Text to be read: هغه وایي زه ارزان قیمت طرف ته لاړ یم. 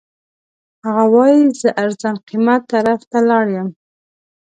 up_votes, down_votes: 2, 0